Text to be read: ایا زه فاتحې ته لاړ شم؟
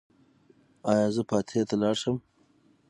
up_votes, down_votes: 6, 0